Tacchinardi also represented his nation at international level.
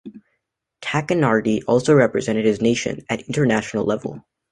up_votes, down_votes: 2, 0